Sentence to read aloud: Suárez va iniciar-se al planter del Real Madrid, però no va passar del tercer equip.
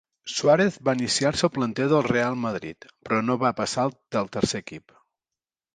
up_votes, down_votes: 2, 0